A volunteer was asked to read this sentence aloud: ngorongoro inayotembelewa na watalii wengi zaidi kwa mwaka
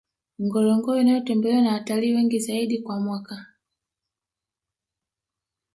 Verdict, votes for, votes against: rejected, 1, 2